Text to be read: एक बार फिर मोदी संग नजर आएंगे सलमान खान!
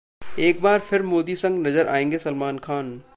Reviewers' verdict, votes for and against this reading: rejected, 1, 2